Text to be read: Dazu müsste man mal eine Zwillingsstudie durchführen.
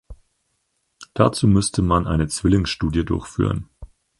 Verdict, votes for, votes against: rejected, 0, 4